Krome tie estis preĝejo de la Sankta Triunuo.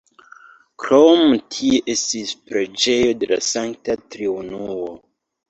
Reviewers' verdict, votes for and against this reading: rejected, 0, 3